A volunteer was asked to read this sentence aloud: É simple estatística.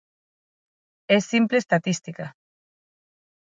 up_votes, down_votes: 6, 0